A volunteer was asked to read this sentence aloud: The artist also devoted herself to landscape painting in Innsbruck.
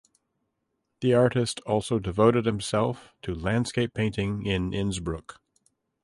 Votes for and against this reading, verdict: 1, 2, rejected